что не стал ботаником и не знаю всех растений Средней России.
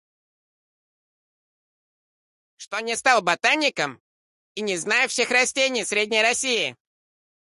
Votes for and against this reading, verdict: 0, 2, rejected